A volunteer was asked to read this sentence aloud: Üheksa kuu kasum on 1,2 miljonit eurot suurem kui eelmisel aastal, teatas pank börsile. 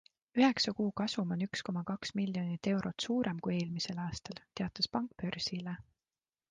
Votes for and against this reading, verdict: 0, 2, rejected